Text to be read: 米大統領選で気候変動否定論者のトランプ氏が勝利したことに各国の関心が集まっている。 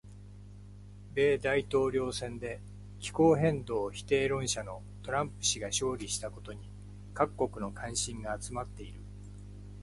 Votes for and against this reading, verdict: 2, 0, accepted